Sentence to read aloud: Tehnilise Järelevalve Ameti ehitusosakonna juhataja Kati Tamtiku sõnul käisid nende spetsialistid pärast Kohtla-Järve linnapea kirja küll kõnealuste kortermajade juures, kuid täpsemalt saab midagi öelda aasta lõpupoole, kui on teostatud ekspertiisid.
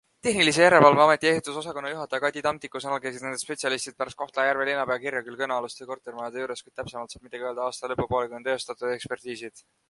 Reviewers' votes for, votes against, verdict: 2, 1, accepted